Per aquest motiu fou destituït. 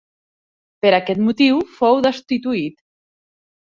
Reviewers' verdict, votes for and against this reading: accepted, 3, 0